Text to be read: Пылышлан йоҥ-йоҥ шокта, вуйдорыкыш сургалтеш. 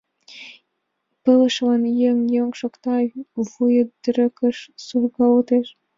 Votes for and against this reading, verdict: 1, 2, rejected